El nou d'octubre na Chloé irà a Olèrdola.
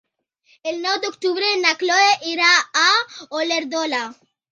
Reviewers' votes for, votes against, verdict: 1, 2, rejected